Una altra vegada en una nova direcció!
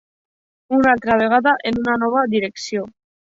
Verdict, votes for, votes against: accepted, 2, 0